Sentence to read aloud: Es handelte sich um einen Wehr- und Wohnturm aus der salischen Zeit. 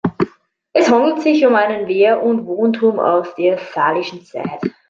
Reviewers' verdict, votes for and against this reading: rejected, 1, 2